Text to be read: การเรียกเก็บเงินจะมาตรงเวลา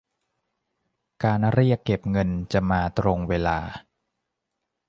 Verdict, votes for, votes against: accepted, 2, 0